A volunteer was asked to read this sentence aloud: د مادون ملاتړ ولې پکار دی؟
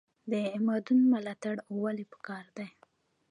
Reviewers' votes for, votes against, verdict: 1, 2, rejected